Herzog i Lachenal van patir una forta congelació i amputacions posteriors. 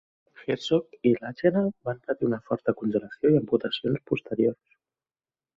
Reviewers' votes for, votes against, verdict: 2, 3, rejected